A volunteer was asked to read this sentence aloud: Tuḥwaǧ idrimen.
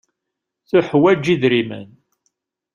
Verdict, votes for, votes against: accepted, 2, 0